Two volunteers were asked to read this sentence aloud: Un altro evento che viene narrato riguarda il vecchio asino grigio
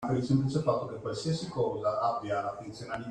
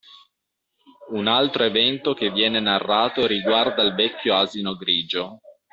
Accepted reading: second